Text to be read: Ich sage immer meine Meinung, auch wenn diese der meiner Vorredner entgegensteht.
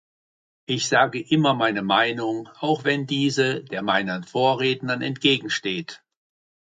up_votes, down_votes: 0, 2